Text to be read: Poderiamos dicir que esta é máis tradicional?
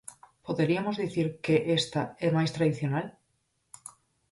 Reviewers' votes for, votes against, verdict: 0, 4, rejected